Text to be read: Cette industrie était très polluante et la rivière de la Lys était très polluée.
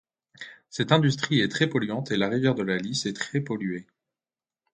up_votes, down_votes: 0, 2